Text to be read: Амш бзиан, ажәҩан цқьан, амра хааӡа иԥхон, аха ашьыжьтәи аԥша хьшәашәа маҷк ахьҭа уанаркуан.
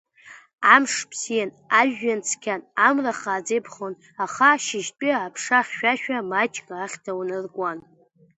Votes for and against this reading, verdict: 2, 0, accepted